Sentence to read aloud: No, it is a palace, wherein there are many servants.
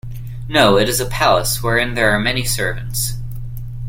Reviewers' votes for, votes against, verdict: 2, 0, accepted